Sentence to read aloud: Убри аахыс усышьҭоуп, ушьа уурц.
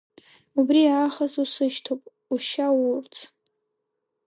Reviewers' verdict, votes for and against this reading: rejected, 3, 4